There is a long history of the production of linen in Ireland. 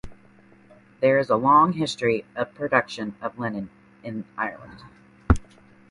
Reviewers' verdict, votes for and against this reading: rejected, 1, 2